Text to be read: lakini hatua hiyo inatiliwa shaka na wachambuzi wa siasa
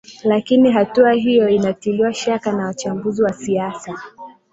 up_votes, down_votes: 2, 0